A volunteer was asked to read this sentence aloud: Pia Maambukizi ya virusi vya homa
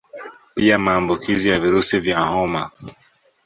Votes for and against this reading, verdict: 2, 0, accepted